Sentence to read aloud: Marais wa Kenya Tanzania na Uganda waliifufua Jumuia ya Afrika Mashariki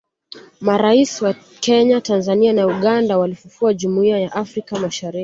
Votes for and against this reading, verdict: 2, 1, accepted